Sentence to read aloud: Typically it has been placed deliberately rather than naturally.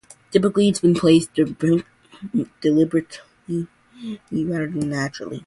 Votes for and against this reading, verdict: 0, 2, rejected